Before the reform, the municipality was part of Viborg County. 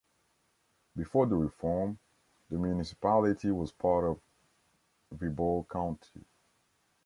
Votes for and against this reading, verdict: 2, 0, accepted